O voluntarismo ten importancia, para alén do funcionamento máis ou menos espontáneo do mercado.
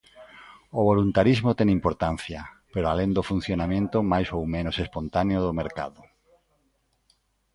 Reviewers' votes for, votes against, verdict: 0, 2, rejected